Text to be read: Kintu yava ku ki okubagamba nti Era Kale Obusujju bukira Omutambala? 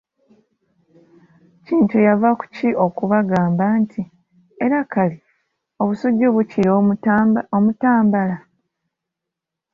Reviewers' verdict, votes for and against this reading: rejected, 0, 2